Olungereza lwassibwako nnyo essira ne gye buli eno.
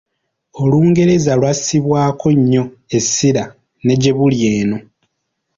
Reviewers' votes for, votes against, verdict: 2, 0, accepted